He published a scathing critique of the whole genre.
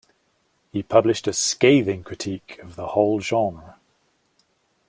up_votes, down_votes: 2, 0